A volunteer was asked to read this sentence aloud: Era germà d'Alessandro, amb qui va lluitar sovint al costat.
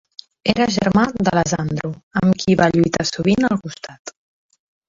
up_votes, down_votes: 0, 2